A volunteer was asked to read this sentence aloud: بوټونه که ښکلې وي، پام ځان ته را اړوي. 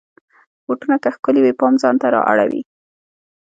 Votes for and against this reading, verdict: 2, 0, accepted